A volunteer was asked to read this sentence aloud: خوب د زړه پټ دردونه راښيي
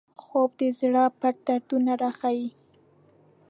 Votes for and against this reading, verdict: 2, 0, accepted